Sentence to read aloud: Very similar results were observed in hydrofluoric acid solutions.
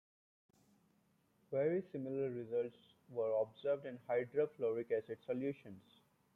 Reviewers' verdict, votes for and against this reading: accepted, 2, 0